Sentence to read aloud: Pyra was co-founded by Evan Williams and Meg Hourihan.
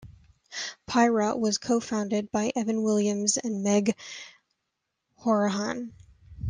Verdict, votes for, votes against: accepted, 3, 0